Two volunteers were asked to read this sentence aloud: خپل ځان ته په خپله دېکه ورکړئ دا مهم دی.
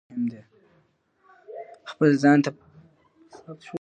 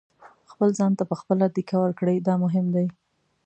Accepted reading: second